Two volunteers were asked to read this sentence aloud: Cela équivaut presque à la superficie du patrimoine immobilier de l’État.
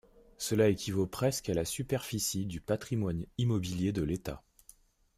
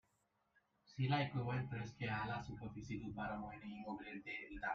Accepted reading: first